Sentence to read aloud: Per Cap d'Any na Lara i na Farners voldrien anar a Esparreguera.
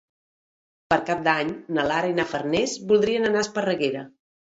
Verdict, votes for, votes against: accepted, 2, 0